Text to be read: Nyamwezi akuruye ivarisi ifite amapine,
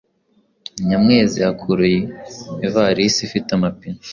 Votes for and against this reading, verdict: 2, 0, accepted